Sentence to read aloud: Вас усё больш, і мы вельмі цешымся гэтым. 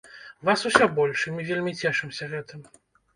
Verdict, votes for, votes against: accepted, 2, 0